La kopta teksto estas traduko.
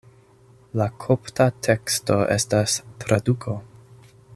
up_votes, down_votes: 2, 0